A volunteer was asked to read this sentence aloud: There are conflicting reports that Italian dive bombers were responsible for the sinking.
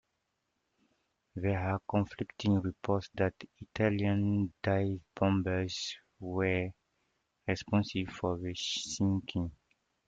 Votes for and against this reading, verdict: 0, 2, rejected